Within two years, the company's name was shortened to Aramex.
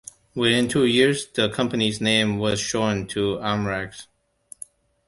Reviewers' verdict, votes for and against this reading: rejected, 0, 2